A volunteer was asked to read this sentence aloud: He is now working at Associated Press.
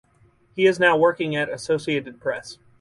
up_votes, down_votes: 4, 0